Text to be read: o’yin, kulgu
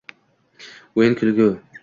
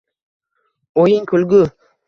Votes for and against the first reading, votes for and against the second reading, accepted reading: 2, 0, 1, 2, first